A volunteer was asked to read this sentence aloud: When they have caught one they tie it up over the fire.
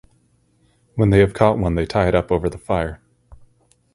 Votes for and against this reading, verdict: 4, 0, accepted